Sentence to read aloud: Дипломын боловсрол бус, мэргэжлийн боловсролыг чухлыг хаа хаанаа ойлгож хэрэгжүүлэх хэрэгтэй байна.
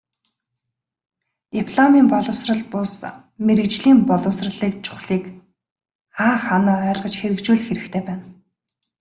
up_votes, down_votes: 0, 2